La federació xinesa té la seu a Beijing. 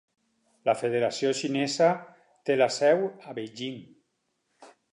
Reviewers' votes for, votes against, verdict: 2, 4, rejected